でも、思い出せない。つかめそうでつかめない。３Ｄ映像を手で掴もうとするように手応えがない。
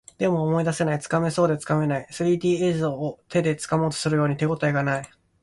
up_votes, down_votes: 0, 2